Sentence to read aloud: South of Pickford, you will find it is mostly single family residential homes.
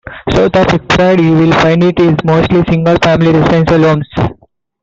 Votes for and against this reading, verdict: 0, 2, rejected